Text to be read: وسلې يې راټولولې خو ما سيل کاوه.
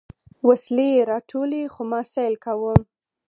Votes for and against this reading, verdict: 2, 4, rejected